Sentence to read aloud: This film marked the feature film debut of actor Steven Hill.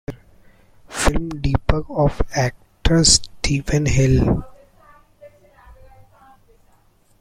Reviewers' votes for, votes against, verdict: 0, 2, rejected